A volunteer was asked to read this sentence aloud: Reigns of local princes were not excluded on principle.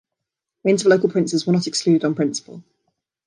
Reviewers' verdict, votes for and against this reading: rejected, 1, 2